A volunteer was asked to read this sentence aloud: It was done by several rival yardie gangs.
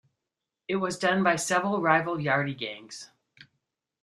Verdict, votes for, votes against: accepted, 2, 0